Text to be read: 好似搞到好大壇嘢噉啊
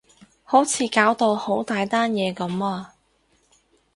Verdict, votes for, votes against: rejected, 0, 2